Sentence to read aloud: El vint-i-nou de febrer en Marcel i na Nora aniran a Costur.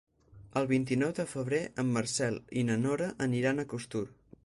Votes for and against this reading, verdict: 4, 0, accepted